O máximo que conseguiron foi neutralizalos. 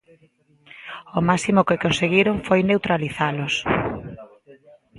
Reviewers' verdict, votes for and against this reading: rejected, 1, 2